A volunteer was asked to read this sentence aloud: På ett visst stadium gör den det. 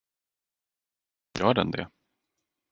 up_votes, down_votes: 0, 4